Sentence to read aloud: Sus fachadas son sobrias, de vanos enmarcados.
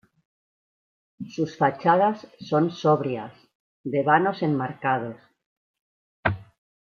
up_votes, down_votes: 1, 2